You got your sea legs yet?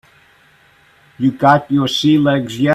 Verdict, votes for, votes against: rejected, 0, 2